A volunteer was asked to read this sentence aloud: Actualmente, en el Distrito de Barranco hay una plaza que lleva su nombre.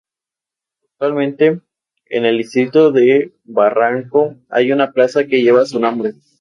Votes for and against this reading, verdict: 0, 2, rejected